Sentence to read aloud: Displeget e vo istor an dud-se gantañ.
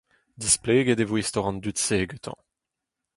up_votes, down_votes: 4, 0